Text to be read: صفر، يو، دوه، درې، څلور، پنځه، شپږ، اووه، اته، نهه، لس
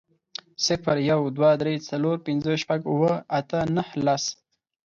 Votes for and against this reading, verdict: 4, 0, accepted